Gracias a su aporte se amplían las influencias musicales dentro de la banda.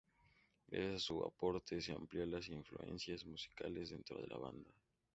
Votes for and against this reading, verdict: 2, 0, accepted